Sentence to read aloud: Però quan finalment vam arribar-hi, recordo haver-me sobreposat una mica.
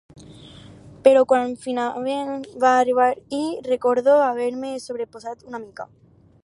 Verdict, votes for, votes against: rejected, 2, 4